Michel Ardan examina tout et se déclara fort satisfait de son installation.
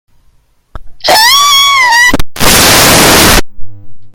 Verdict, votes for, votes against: rejected, 0, 2